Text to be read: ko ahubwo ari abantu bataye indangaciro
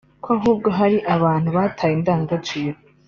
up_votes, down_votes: 2, 1